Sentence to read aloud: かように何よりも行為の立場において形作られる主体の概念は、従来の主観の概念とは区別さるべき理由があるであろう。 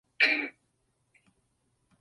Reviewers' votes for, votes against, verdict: 0, 2, rejected